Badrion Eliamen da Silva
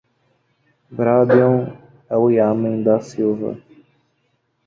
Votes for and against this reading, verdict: 0, 2, rejected